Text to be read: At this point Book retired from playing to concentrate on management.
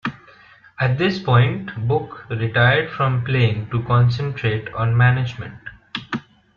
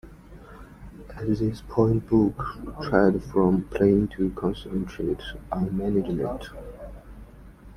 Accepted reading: first